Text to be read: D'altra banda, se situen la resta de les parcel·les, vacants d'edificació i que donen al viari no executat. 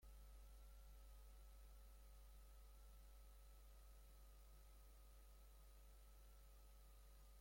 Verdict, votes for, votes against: rejected, 0, 2